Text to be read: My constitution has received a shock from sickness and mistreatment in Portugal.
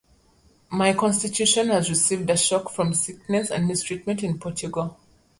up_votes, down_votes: 2, 0